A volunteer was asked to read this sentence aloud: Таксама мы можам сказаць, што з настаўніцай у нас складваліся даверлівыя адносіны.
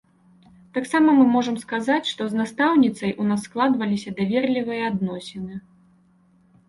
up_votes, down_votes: 2, 0